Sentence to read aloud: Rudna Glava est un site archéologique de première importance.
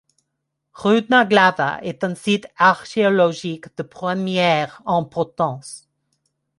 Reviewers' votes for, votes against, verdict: 1, 2, rejected